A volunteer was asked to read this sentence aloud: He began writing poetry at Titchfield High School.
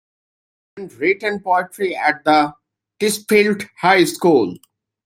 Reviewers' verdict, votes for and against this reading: rejected, 0, 2